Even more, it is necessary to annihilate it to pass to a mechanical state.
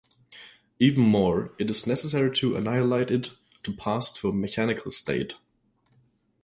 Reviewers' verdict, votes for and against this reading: accepted, 2, 0